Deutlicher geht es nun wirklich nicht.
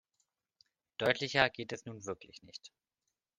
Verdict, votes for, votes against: accepted, 2, 0